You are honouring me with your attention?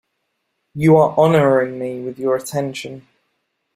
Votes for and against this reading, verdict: 2, 0, accepted